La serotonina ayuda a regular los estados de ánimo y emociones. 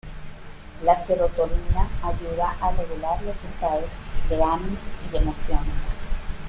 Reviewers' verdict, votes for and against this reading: rejected, 1, 2